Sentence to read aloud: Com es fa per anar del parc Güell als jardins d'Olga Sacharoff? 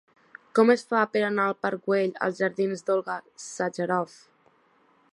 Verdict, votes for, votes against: rejected, 0, 2